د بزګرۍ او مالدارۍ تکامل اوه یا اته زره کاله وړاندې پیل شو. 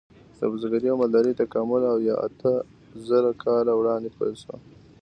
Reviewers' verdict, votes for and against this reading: accepted, 2, 0